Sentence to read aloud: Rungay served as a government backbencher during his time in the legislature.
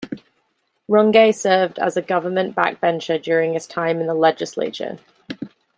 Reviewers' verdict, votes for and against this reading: accepted, 2, 0